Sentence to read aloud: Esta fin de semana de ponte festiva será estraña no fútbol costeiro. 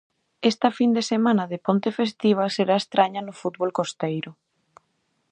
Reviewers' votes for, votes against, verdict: 2, 0, accepted